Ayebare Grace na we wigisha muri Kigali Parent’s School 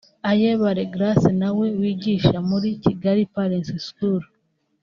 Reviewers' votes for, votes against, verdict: 1, 2, rejected